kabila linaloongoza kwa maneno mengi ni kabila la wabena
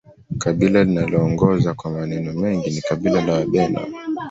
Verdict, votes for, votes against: rejected, 0, 2